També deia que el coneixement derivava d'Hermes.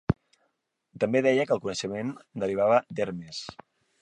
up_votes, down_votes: 2, 1